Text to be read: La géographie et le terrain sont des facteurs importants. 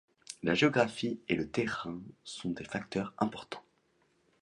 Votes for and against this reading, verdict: 2, 0, accepted